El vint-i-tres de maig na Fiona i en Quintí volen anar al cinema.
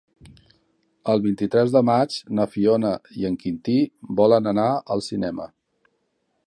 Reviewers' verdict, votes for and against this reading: accepted, 3, 0